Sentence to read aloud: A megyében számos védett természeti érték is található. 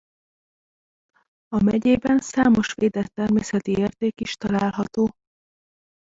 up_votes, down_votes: 1, 2